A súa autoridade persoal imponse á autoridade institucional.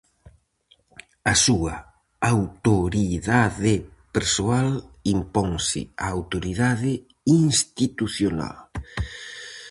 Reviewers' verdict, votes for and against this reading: rejected, 2, 2